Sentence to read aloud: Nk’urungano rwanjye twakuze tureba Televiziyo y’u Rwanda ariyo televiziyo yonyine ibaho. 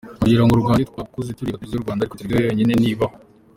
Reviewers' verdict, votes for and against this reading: rejected, 0, 2